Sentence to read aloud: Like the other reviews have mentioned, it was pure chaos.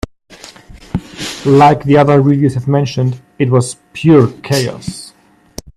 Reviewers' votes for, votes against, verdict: 0, 2, rejected